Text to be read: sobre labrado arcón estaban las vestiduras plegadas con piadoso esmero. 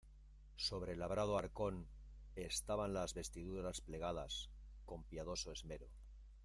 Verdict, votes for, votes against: rejected, 0, 2